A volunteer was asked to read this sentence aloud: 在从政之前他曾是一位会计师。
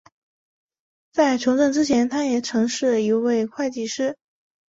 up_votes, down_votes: 1, 2